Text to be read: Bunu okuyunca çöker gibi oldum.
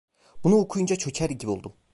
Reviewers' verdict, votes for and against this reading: rejected, 1, 2